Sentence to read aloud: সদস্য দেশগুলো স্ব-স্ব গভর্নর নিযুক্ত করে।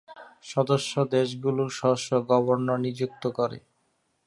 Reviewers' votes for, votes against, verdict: 2, 0, accepted